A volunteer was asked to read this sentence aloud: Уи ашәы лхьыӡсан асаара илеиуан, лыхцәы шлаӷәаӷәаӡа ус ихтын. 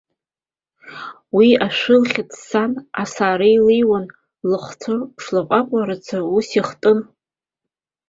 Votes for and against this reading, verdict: 1, 2, rejected